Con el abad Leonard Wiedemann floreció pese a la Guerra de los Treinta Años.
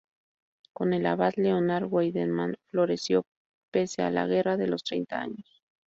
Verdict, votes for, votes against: rejected, 2, 2